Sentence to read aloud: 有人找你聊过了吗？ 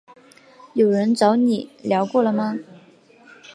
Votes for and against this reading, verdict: 2, 0, accepted